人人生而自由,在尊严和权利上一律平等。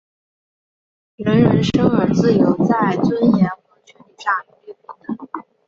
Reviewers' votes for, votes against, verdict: 3, 0, accepted